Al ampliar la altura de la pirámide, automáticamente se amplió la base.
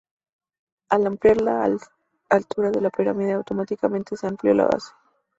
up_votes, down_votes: 0, 2